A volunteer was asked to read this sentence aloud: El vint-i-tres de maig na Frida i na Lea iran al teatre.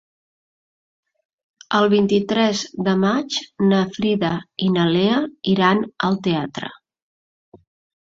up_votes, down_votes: 2, 0